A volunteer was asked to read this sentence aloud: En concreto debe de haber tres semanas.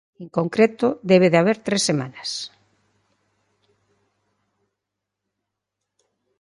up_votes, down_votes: 2, 0